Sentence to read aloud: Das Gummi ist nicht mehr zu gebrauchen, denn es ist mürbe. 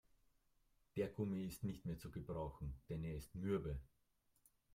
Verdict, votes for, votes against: rejected, 1, 3